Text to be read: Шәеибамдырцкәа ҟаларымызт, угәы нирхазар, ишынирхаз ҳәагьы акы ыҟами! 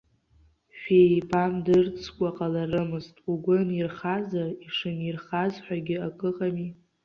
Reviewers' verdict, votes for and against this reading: rejected, 1, 2